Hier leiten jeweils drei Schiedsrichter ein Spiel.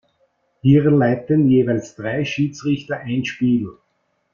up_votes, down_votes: 2, 0